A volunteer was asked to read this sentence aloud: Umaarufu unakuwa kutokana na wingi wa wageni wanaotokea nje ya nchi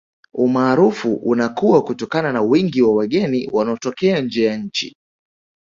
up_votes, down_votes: 2, 0